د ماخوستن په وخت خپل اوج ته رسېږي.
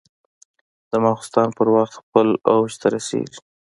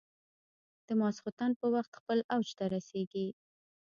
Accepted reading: first